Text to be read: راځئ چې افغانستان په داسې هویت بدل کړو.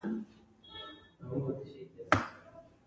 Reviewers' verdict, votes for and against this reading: rejected, 1, 2